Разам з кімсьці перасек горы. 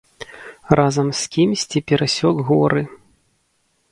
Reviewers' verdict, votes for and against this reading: rejected, 1, 2